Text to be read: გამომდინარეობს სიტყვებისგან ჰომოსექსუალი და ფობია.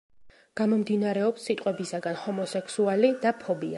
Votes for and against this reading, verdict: 0, 3, rejected